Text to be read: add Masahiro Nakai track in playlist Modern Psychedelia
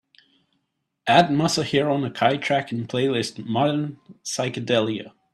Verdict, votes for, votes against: accepted, 2, 0